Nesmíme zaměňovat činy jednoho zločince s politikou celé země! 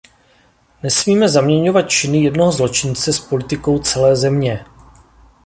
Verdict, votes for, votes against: accepted, 2, 0